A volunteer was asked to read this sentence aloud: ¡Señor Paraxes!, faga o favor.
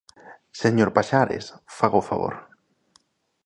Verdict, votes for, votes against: rejected, 0, 2